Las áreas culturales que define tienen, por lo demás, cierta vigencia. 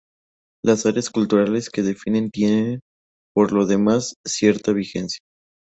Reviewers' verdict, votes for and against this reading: rejected, 0, 2